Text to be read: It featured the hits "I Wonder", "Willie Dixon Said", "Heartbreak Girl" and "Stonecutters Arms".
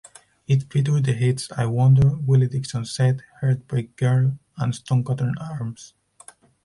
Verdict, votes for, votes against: rejected, 0, 4